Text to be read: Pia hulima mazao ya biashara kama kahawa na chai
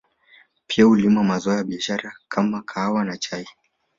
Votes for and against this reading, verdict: 2, 1, accepted